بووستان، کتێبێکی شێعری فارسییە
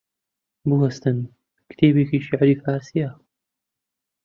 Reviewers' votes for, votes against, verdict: 0, 2, rejected